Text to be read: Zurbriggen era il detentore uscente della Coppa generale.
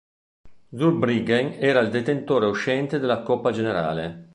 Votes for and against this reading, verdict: 2, 0, accepted